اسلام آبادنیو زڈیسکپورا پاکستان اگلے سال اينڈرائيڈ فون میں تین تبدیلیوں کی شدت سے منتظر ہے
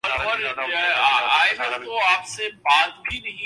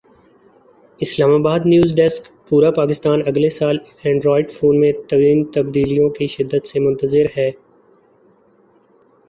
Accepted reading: second